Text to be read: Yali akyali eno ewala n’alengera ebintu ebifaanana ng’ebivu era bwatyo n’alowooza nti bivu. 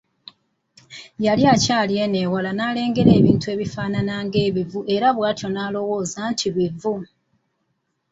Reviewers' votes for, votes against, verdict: 2, 1, accepted